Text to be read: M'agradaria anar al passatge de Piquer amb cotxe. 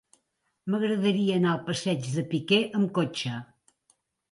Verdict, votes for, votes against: rejected, 1, 2